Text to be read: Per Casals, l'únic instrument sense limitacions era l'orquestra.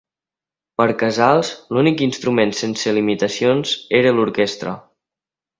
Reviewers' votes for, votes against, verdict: 3, 0, accepted